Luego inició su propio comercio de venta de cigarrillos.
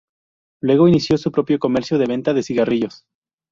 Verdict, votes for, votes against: rejected, 0, 2